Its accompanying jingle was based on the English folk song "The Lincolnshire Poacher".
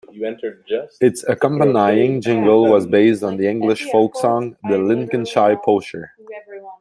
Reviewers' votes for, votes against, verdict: 0, 2, rejected